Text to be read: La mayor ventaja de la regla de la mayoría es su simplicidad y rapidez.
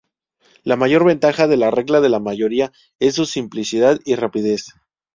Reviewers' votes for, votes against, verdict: 2, 2, rejected